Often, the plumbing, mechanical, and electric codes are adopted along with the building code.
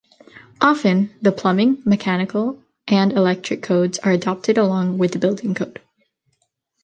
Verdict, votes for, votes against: accepted, 2, 0